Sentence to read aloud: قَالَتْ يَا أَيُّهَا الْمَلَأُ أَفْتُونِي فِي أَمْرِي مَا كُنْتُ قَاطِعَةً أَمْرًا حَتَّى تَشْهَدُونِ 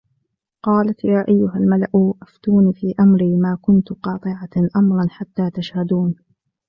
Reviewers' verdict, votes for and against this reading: accepted, 2, 1